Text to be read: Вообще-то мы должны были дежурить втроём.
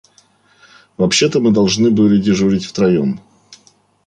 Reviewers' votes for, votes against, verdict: 2, 0, accepted